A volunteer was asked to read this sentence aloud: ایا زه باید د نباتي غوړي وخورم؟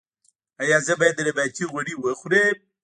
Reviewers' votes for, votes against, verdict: 0, 2, rejected